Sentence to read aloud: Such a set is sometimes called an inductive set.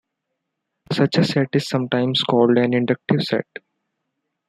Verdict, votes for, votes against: accepted, 2, 0